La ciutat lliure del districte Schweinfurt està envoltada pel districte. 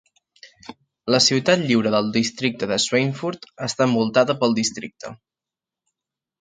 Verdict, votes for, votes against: accepted, 3, 0